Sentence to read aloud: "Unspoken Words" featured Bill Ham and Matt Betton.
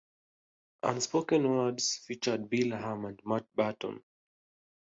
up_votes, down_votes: 2, 0